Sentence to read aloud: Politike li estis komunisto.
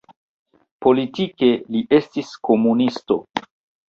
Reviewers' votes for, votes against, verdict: 2, 0, accepted